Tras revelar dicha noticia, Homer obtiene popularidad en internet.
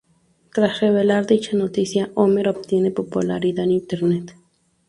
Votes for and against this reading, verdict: 2, 0, accepted